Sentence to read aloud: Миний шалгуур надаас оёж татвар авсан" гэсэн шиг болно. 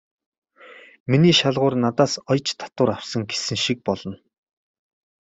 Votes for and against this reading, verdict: 2, 1, accepted